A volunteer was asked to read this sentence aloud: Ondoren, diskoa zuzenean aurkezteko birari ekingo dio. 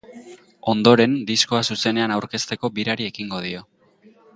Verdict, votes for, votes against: accepted, 2, 0